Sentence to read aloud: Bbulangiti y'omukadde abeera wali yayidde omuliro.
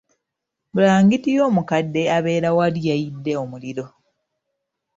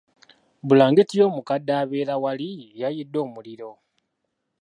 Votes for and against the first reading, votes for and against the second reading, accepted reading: 1, 2, 3, 0, second